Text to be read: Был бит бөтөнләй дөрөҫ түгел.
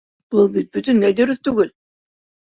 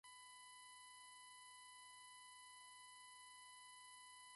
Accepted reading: first